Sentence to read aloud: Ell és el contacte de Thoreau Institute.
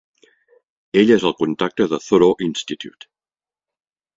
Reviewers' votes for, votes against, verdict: 2, 0, accepted